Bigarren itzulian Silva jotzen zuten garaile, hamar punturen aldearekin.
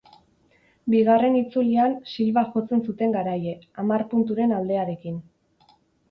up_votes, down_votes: 6, 0